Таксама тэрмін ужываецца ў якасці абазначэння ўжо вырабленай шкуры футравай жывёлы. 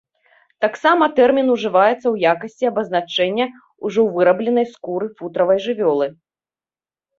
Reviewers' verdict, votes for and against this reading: rejected, 1, 2